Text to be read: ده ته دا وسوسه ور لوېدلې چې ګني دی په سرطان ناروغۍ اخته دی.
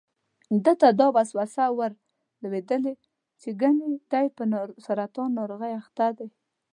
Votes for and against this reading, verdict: 2, 0, accepted